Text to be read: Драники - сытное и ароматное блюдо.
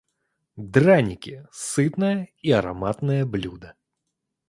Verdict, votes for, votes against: accepted, 2, 0